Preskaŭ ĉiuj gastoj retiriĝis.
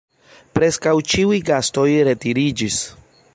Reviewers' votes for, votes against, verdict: 1, 2, rejected